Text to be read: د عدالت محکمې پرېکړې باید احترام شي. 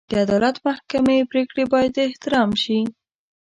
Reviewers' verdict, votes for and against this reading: accepted, 2, 0